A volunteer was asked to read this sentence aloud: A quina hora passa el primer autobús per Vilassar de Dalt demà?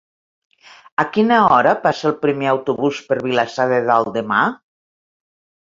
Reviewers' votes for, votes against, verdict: 3, 0, accepted